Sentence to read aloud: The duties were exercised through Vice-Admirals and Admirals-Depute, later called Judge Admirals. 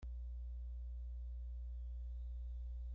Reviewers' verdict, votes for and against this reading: rejected, 0, 3